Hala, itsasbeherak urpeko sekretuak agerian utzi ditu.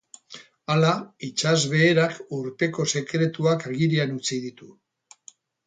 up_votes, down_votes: 4, 2